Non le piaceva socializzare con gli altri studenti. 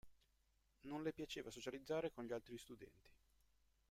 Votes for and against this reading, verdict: 1, 2, rejected